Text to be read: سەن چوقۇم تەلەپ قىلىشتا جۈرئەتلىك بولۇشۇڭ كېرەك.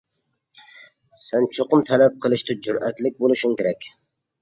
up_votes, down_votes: 2, 0